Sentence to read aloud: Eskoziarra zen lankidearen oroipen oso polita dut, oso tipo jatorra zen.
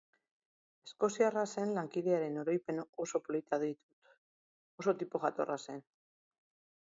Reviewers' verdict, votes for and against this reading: rejected, 1, 4